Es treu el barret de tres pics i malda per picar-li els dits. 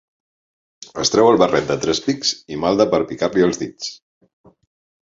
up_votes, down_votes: 2, 0